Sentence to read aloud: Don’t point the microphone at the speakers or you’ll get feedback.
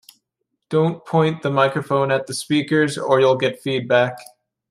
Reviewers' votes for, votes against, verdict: 2, 0, accepted